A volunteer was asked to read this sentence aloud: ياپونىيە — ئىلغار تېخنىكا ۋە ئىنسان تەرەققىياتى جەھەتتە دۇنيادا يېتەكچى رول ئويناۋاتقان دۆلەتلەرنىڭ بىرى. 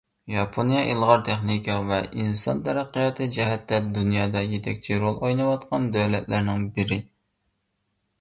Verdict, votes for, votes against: accepted, 2, 0